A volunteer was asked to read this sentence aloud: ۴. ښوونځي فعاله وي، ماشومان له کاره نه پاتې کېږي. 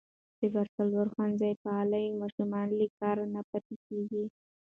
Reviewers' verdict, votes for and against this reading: rejected, 0, 2